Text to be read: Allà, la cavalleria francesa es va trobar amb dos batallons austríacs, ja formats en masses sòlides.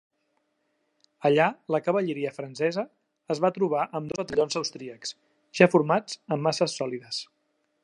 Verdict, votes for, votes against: rejected, 1, 2